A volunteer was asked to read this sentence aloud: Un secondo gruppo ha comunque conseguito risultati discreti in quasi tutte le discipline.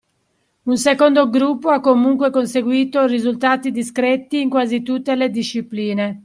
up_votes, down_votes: 2, 0